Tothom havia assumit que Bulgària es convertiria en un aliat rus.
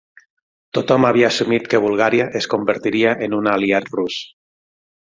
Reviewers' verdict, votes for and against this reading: accepted, 12, 0